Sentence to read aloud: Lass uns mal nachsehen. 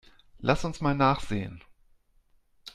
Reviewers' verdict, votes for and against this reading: accepted, 2, 0